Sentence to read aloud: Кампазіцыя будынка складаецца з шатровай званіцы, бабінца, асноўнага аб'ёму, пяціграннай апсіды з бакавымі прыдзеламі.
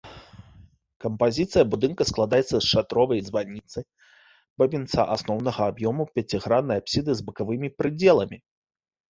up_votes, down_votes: 2, 0